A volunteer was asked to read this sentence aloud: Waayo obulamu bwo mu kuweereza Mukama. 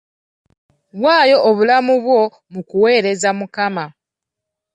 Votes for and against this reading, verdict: 3, 0, accepted